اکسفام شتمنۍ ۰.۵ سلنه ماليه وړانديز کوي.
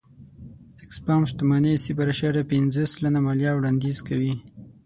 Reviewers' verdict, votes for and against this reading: rejected, 0, 2